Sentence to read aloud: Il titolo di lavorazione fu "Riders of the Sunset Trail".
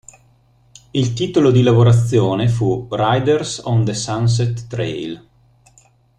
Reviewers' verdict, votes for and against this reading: rejected, 1, 2